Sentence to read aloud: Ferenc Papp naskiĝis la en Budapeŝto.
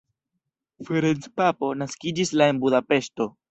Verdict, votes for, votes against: accepted, 2, 0